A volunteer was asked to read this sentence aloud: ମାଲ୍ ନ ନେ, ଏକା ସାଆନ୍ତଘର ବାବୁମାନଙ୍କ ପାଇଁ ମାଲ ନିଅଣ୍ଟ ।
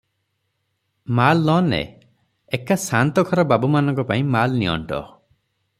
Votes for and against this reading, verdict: 3, 0, accepted